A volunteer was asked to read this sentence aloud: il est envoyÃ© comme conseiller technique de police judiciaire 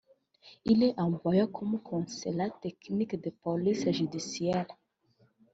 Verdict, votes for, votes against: rejected, 1, 2